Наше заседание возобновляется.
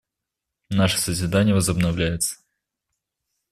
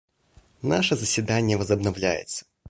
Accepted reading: second